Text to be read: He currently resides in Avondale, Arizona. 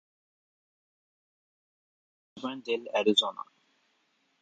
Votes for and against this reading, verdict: 0, 2, rejected